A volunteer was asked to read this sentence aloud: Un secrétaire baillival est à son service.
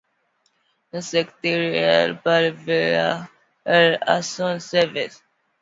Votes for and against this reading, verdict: 0, 2, rejected